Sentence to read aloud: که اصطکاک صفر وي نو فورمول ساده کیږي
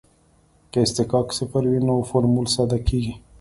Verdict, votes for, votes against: accepted, 2, 0